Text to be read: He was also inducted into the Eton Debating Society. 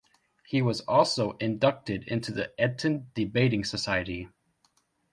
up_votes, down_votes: 1, 2